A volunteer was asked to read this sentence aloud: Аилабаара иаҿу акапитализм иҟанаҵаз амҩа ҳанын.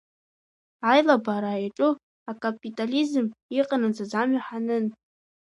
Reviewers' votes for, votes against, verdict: 1, 2, rejected